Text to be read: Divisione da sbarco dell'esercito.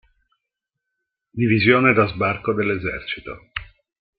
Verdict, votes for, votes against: rejected, 1, 2